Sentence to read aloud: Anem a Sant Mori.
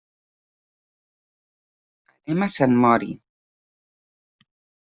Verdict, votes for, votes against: rejected, 1, 2